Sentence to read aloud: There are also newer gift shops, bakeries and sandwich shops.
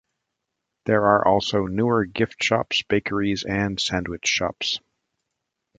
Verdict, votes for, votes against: accepted, 2, 0